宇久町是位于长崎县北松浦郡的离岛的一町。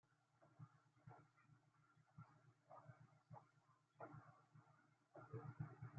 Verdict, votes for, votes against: rejected, 0, 2